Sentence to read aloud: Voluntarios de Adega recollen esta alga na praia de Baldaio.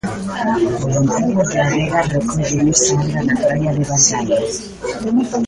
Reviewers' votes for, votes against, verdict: 0, 2, rejected